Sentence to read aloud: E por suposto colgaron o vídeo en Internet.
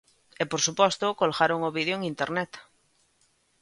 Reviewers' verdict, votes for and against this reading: accepted, 2, 0